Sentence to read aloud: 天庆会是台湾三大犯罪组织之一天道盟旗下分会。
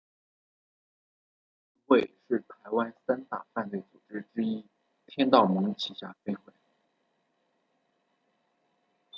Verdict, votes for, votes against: rejected, 1, 2